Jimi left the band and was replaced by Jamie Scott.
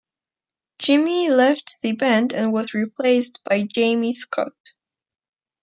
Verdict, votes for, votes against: accepted, 2, 0